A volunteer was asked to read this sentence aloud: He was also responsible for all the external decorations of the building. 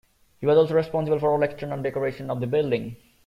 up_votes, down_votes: 2, 0